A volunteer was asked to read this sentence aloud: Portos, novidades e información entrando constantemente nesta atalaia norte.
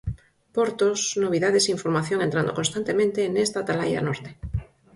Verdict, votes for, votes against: accepted, 4, 0